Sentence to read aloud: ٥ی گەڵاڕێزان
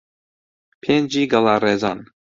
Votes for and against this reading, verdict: 0, 2, rejected